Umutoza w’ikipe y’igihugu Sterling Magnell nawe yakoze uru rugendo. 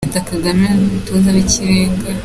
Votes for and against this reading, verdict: 0, 2, rejected